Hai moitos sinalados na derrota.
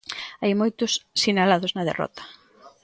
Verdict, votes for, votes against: accepted, 2, 0